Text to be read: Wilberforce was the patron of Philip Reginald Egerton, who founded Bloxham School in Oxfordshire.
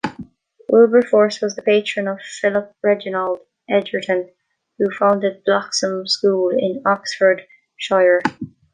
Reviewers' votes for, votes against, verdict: 0, 2, rejected